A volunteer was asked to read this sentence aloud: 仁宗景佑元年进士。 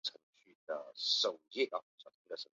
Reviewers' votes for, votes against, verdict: 0, 2, rejected